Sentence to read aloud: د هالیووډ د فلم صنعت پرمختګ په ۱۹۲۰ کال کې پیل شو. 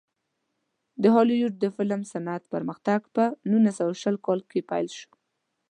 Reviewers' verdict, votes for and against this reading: rejected, 0, 2